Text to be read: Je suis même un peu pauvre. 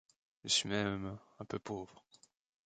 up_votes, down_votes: 1, 2